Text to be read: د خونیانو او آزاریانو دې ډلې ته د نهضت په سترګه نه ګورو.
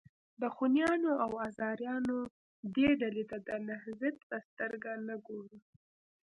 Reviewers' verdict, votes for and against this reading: rejected, 0, 2